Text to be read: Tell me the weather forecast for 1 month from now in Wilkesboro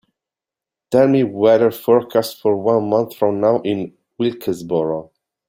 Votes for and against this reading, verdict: 0, 2, rejected